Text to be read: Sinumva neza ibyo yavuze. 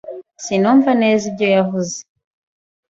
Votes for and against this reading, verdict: 2, 0, accepted